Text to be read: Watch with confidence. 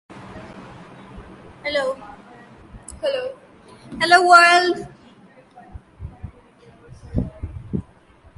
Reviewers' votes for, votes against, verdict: 0, 4, rejected